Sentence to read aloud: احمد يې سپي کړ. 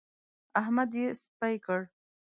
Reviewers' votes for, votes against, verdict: 1, 2, rejected